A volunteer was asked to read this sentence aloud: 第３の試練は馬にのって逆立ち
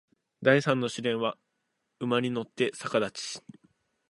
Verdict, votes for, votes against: rejected, 0, 2